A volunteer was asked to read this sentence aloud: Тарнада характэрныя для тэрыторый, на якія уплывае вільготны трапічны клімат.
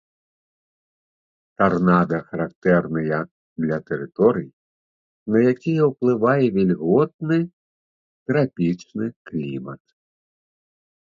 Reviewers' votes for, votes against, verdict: 2, 0, accepted